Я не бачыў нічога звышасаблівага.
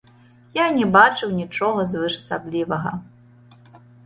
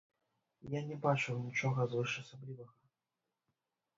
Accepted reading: first